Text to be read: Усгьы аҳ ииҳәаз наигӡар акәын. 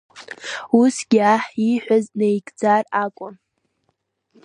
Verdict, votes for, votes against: accepted, 2, 0